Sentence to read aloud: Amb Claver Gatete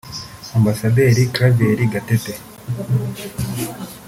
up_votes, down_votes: 0, 2